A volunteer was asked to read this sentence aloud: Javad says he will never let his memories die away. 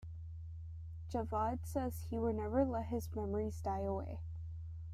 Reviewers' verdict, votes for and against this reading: accepted, 2, 0